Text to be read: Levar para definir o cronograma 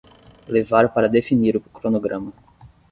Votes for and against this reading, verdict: 5, 5, rejected